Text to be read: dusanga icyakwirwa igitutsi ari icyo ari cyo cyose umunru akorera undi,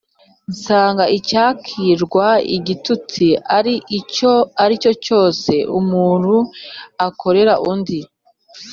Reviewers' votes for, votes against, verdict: 2, 0, accepted